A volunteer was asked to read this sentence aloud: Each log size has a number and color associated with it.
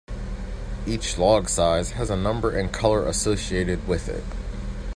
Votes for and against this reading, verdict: 2, 0, accepted